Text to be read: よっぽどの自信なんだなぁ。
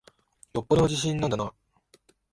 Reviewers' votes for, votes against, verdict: 7, 1, accepted